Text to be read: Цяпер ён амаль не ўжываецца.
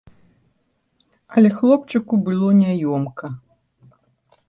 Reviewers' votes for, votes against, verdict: 0, 2, rejected